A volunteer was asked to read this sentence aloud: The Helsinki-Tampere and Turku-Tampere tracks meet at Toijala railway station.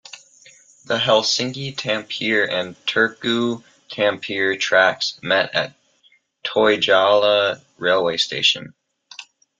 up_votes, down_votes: 0, 2